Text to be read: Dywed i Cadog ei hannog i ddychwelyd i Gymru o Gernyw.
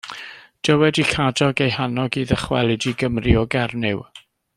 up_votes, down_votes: 1, 2